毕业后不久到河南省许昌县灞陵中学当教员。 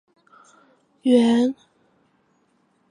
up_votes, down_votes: 1, 5